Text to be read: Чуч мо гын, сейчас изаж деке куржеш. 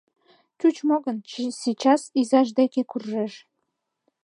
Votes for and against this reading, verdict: 1, 2, rejected